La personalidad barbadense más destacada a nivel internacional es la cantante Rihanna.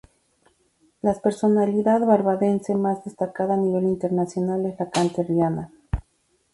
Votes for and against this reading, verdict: 2, 0, accepted